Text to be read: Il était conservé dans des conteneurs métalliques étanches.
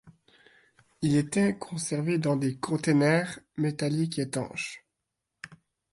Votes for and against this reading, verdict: 2, 0, accepted